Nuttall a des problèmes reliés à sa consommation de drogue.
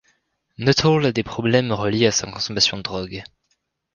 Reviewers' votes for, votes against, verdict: 2, 0, accepted